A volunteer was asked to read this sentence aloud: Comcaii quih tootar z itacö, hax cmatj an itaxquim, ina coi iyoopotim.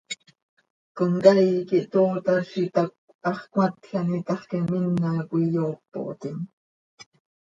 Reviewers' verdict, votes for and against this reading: accepted, 2, 0